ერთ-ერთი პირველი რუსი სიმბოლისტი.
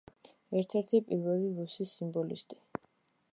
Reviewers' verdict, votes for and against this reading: accepted, 2, 0